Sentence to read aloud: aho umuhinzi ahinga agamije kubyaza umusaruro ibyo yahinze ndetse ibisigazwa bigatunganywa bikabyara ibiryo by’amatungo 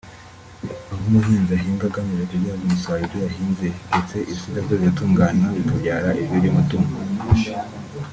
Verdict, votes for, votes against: rejected, 0, 2